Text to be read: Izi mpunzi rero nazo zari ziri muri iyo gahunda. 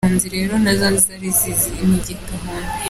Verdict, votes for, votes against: rejected, 1, 2